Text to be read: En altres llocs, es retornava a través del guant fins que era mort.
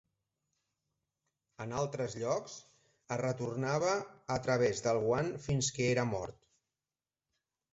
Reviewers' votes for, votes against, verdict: 4, 0, accepted